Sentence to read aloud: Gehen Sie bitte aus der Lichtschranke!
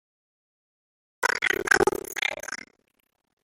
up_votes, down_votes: 0, 2